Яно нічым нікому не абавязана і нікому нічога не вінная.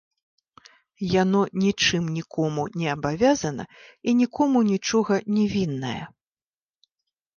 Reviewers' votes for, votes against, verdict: 2, 0, accepted